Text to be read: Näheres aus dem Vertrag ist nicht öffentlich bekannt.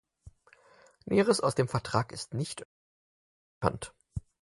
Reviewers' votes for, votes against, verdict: 0, 4, rejected